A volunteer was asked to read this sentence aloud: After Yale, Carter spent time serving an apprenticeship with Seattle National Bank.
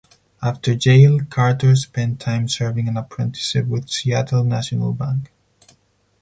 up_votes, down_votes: 6, 2